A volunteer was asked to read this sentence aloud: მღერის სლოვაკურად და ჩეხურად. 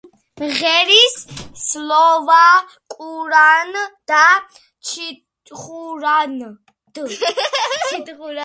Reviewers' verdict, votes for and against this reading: rejected, 0, 2